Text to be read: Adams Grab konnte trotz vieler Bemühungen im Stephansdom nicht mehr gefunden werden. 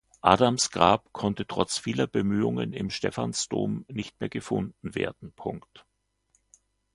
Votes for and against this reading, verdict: 0, 2, rejected